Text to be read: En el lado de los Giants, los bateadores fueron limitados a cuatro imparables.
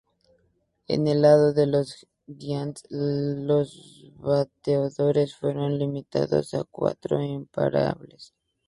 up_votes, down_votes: 2, 4